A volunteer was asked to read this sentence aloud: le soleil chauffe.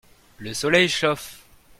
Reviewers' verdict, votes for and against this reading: accepted, 2, 0